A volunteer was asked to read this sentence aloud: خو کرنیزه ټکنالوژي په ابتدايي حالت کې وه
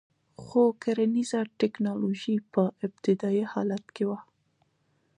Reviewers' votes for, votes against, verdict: 2, 1, accepted